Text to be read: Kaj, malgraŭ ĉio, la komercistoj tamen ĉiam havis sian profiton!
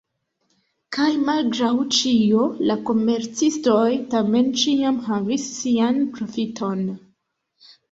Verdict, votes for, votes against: rejected, 1, 2